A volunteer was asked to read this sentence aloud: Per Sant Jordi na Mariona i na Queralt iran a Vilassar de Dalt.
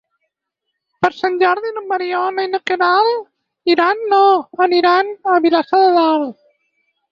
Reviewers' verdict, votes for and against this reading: rejected, 2, 4